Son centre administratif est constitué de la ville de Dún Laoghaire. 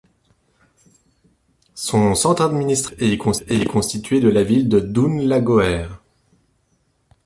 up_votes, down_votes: 0, 2